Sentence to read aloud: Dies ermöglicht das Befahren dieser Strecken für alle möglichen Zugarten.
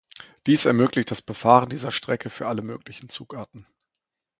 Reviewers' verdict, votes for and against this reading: rejected, 0, 2